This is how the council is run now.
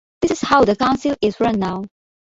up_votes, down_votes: 2, 1